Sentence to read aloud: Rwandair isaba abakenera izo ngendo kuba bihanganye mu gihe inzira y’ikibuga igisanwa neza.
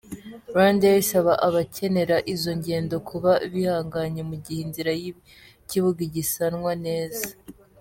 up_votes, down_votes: 2, 0